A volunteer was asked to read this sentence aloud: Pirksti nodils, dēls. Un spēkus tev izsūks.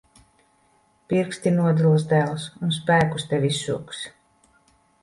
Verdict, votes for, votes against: accepted, 2, 0